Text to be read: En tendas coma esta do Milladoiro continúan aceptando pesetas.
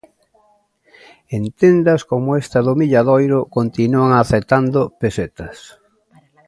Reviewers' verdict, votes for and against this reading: rejected, 0, 2